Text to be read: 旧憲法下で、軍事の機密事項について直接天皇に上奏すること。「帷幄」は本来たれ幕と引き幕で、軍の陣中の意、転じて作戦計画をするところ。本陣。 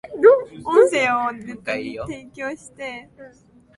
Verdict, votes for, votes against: rejected, 0, 2